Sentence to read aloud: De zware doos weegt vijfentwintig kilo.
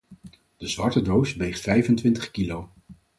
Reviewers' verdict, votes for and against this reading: rejected, 2, 4